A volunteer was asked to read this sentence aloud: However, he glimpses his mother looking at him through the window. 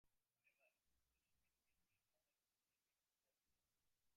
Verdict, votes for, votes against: rejected, 0, 2